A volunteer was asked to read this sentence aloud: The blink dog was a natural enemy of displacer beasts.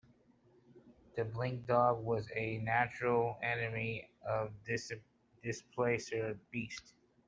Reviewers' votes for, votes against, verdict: 0, 2, rejected